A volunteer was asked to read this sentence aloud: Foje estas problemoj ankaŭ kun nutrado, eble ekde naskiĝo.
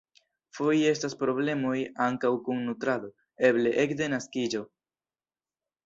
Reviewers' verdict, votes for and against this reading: accepted, 2, 1